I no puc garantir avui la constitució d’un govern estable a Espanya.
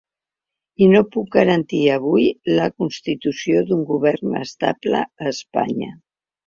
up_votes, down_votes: 3, 0